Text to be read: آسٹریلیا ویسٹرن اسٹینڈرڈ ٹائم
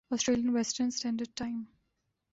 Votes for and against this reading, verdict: 2, 0, accepted